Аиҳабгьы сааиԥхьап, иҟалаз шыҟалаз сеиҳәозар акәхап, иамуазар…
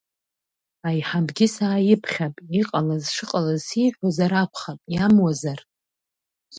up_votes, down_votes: 2, 0